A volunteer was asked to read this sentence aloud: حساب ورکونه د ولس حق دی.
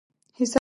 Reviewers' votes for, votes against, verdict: 0, 2, rejected